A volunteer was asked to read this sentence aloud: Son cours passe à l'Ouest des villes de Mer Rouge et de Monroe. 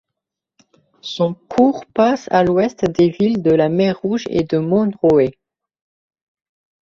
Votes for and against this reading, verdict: 1, 2, rejected